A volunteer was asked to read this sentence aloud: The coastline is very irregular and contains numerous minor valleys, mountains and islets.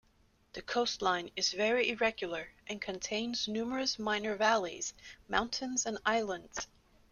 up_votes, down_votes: 0, 2